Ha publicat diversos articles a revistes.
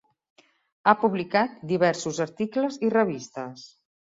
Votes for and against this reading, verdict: 0, 2, rejected